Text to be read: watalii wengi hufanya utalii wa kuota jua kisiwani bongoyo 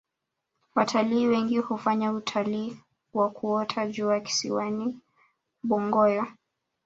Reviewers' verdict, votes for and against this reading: rejected, 0, 2